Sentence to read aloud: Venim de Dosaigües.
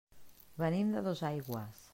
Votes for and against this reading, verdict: 3, 0, accepted